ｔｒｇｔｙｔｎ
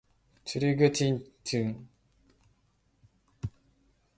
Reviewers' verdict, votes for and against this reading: rejected, 2, 4